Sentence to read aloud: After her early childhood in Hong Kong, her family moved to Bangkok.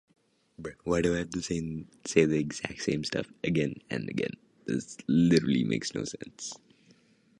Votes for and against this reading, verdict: 0, 2, rejected